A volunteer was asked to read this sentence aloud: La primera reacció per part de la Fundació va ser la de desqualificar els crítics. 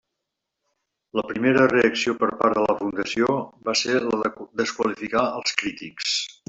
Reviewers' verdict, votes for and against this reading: rejected, 1, 2